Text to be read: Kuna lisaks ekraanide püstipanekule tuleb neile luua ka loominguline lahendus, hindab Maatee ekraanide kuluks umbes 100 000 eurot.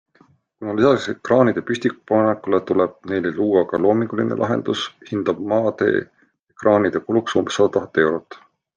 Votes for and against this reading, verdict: 0, 2, rejected